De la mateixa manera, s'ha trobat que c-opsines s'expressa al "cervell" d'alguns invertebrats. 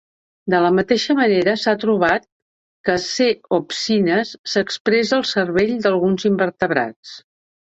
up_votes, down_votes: 1, 2